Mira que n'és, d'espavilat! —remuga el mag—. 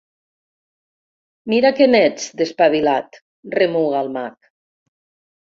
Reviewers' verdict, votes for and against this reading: rejected, 1, 2